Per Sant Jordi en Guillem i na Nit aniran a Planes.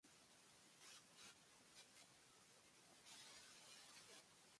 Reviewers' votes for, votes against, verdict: 1, 3, rejected